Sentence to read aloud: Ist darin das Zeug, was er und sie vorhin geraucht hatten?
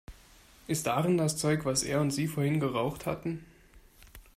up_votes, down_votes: 2, 0